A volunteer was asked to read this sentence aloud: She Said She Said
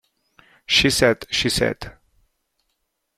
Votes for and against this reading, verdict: 0, 2, rejected